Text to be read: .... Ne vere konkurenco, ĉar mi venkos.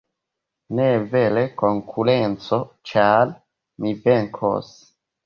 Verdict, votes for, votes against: accepted, 2, 1